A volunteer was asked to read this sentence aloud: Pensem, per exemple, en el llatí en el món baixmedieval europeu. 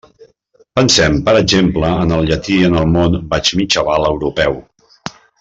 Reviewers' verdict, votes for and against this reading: rejected, 0, 2